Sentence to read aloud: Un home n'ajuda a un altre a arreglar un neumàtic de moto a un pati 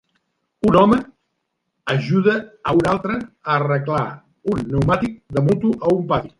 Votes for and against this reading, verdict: 0, 2, rejected